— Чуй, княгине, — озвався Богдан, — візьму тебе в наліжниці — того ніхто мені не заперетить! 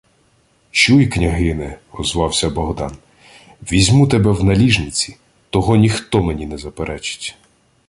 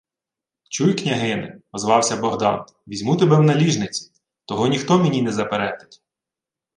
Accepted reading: second